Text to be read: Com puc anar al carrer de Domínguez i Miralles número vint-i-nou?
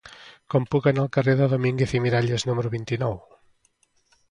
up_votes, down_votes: 2, 0